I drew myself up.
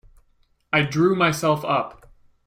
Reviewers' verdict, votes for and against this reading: accepted, 2, 0